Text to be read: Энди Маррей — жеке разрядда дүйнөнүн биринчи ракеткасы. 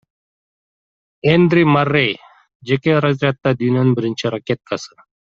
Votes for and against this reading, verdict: 1, 2, rejected